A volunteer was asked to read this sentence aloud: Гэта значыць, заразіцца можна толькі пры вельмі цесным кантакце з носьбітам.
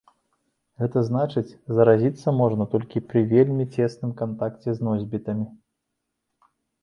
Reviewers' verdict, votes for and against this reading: rejected, 0, 2